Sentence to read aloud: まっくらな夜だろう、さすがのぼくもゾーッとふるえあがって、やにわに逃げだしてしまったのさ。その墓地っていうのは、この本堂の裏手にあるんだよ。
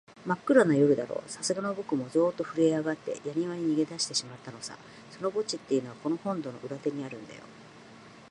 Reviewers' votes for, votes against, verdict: 4, 0, accepted